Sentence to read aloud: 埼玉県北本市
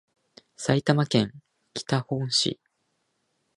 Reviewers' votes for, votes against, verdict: 0, 2, rejected